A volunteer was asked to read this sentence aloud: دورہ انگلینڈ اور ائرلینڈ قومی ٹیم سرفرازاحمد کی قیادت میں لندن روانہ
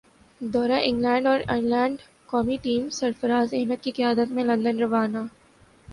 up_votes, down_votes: 3, 1